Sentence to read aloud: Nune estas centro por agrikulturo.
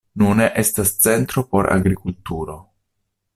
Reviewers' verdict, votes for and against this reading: accepted, 2, 0